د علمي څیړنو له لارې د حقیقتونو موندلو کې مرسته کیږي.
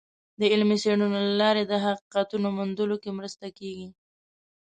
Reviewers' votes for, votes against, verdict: 2, 0, accepted